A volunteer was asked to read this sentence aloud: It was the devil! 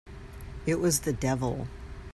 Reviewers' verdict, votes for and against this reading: accepted, 3, 0